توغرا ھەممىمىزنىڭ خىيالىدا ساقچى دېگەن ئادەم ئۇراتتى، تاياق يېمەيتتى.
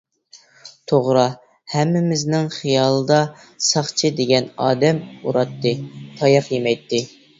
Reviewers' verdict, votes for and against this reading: accepted, 2, 0